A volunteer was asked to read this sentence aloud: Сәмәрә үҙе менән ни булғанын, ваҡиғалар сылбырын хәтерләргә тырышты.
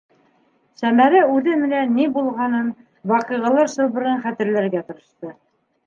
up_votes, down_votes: 1, 2